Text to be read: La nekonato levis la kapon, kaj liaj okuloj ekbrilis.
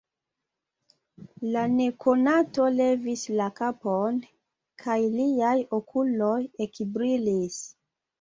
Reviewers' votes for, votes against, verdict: 2, 1, accepted